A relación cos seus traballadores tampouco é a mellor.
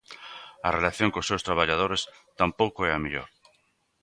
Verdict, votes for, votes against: accepted, 2, 0